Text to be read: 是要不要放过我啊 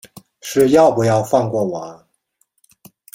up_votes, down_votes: 1, 2